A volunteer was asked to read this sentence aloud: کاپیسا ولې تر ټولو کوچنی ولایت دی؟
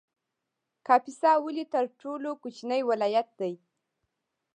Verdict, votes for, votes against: accepted, 2, 0